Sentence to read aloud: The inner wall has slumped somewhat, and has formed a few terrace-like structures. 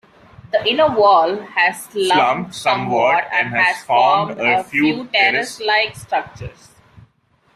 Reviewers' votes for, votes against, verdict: 0, 2, rejected